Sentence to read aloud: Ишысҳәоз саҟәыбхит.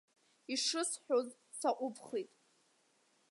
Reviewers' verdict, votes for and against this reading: accepted, 2, 1